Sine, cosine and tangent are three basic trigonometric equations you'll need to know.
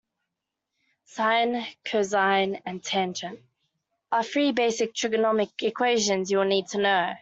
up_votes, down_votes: 2, 1